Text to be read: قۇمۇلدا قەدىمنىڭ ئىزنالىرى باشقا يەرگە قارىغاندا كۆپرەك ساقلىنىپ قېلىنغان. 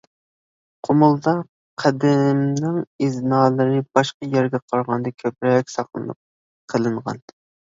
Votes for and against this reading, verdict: 2, 0, accepted